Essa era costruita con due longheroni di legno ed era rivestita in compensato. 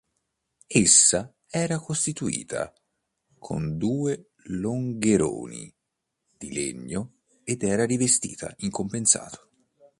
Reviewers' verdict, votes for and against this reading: rejected, 2, 3